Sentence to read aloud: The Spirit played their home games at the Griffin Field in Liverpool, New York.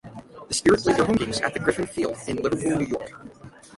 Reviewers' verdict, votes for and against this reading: rejected, 0, 3